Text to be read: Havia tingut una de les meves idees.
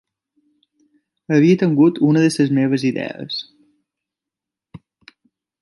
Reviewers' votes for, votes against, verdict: 0, 2, rejected